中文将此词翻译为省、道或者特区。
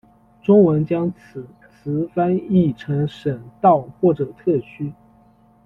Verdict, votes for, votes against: rejected, 1, 2